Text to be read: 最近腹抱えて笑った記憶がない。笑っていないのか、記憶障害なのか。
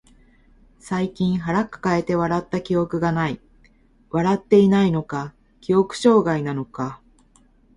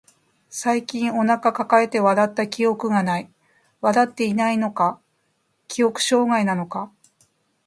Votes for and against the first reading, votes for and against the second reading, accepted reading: 2, 0, 0, 2, first